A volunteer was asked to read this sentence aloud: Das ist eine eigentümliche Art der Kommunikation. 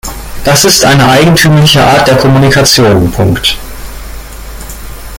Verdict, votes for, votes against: rejected, 1, 2